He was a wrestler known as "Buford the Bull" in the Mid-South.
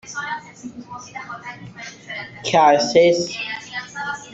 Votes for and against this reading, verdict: 0, 2, rejected